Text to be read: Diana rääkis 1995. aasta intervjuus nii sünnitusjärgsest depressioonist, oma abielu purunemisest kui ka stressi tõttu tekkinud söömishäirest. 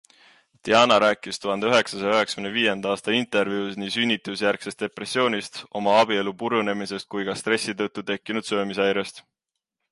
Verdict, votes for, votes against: rejected, 0, 2